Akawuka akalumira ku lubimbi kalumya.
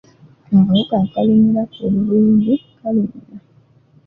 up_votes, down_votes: 1, 2